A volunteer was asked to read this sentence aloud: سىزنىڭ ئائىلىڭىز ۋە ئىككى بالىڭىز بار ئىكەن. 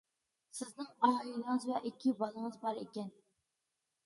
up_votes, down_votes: 2, 0